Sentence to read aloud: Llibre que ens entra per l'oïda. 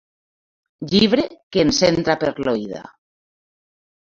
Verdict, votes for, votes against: accepted, 2, 0